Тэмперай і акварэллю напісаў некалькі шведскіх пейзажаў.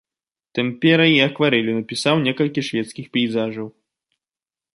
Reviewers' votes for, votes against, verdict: 2, 0, accepted